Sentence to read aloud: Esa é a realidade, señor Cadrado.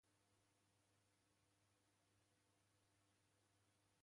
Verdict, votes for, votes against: rejected, 0, 3